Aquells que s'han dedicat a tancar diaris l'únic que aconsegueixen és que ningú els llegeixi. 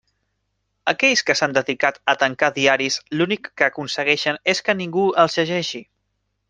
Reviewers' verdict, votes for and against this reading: accepted, 3, 0